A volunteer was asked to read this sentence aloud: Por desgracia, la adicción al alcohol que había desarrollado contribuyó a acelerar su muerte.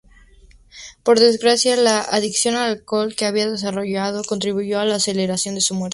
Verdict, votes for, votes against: accepted, 4, 0